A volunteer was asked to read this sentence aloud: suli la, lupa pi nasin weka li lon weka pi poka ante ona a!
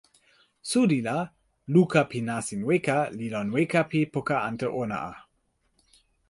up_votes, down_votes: 0, 2